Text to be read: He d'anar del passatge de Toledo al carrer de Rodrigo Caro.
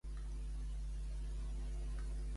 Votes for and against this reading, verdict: 1, 3, rejected